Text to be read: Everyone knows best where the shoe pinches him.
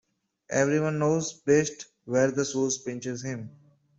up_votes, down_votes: 1, 2